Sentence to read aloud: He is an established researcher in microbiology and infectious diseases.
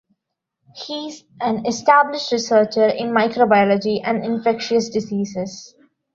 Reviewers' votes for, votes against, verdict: 1, 2, rejected